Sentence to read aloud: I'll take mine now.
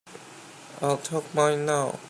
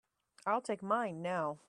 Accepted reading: second